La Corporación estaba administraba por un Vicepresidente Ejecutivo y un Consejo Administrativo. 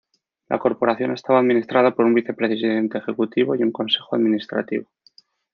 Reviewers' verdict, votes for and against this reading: rejected, 1, 2